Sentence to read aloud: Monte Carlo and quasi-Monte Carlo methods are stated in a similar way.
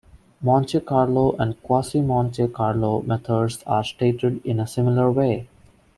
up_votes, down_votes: 2, 0